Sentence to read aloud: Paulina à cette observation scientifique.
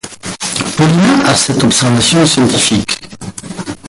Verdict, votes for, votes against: rejected, 2, 4